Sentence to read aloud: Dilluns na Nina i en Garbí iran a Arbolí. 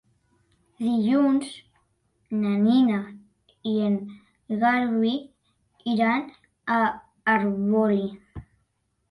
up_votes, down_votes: 1, 2